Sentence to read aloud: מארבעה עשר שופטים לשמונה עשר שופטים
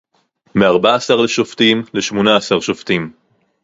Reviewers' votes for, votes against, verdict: 2, 2, rejected